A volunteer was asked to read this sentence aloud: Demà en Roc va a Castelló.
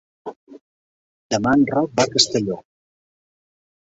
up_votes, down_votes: 0, 2